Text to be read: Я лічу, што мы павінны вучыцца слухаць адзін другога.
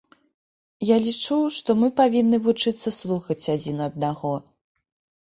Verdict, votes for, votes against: rejected, 1, 3